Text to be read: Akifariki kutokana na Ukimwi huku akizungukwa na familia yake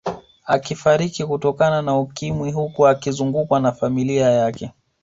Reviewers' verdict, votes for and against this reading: accepted, 2, 0